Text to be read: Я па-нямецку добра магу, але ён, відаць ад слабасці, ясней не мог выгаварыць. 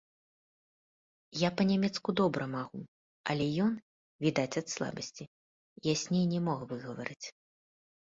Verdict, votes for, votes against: rejected, 1, 3